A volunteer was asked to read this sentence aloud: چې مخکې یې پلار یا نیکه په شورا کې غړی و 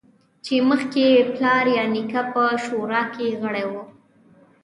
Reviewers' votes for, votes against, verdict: 2, 0, accepted